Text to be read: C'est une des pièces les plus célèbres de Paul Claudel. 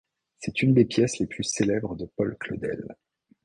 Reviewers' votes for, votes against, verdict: 2, 0, accepted